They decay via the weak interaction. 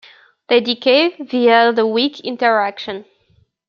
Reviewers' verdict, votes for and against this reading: accepted, 2, 0